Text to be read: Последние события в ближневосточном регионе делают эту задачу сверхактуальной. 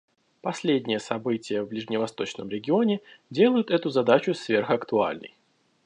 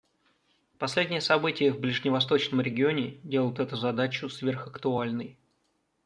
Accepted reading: second